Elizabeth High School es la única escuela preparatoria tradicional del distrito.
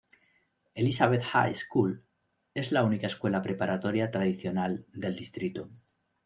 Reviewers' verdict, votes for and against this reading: rejected, 1, 2